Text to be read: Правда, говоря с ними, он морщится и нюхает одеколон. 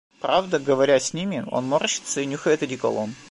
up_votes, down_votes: 2, 1